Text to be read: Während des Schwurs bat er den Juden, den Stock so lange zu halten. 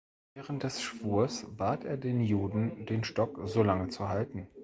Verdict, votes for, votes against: accepted, 2, 0